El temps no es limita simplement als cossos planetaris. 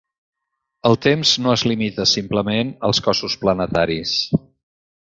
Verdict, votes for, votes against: accepted, 4, 0